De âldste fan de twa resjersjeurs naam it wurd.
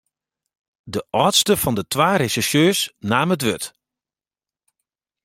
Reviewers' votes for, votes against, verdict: 2, 0, accepted